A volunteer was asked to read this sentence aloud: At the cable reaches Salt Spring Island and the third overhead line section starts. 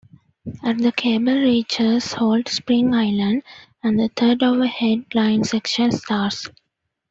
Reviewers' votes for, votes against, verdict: 1, 2, rejected